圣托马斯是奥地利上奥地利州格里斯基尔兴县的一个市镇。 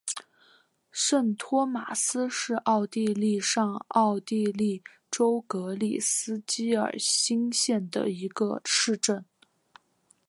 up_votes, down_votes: 3, 0